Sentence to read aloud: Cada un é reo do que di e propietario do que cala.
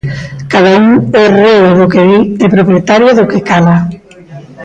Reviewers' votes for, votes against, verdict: 1, 2, rejected